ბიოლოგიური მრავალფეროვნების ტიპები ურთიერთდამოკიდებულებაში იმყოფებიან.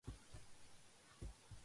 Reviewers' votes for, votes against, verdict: 0, 2, rejected